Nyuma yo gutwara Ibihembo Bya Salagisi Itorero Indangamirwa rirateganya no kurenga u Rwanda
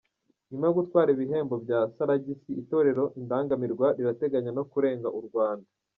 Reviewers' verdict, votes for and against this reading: rejected, 1, 2